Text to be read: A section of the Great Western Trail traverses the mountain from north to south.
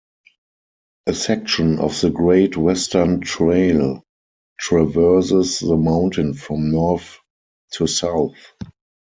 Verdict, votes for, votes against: accepted, 4, 0